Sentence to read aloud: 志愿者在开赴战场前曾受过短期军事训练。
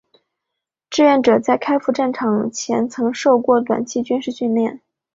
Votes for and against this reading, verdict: 3, 1, accepted